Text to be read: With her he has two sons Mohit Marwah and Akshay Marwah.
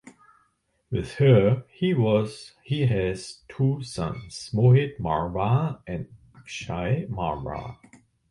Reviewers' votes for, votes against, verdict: 1, 2, rejected